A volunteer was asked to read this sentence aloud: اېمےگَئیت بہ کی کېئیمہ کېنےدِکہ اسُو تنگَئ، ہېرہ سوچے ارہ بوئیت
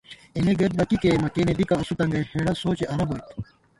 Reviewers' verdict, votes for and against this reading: rejected, 0, 2